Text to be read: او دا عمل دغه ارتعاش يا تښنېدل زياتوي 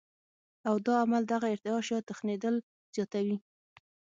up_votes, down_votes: 3, 6